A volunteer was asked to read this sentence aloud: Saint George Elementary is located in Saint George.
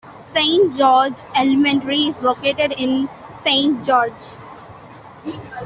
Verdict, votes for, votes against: accepted, 2, 1